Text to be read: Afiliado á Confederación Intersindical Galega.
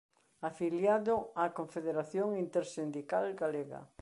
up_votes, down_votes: 2, 0